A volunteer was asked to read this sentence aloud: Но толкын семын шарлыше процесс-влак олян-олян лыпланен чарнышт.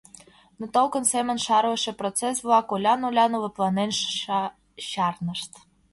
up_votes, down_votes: 2, 0